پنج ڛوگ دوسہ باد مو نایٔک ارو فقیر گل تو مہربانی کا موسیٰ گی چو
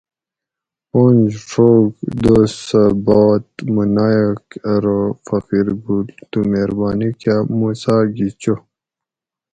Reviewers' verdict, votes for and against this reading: accepted, 4, 0